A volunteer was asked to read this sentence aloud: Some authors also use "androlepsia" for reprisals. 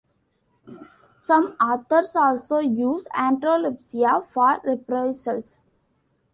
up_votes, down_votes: 2, 1